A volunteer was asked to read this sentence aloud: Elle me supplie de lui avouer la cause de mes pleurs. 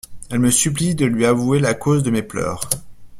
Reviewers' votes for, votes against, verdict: 2, 0, accepted